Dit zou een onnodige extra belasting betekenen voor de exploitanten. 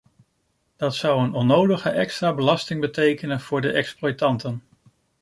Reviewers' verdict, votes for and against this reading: rejected, 1, 2